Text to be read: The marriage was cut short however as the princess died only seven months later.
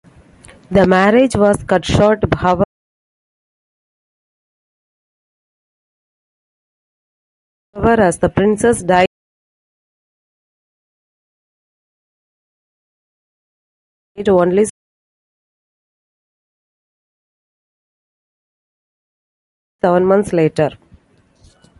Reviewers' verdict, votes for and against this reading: rejected, 0, 2